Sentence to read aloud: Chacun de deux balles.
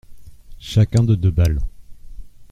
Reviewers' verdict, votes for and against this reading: accepted, 2, 1